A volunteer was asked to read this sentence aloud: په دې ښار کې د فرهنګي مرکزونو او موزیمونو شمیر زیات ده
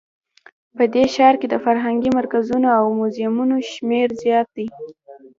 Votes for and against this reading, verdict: 2, 0, accepted